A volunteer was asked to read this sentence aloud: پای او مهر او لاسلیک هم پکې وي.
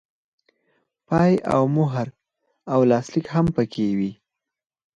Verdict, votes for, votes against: accepted, 4, 2